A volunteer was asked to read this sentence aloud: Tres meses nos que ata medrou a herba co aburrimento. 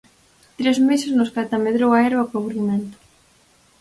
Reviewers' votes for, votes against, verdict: 4, 0, accepted